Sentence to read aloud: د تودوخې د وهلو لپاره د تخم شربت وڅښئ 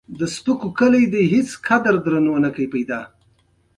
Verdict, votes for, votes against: rejected, 1, 2